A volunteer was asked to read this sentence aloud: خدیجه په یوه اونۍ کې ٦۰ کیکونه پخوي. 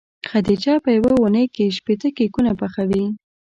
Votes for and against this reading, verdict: 0, 2, rejected